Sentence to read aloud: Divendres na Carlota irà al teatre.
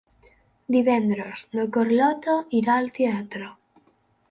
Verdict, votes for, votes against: accepted, 4, 0